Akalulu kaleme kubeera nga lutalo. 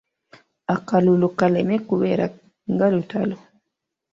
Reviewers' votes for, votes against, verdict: 1, 2, rejected